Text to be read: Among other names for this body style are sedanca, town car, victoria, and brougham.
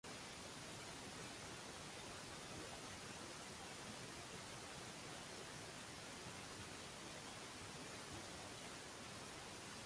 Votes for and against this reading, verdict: 0, 2, rejected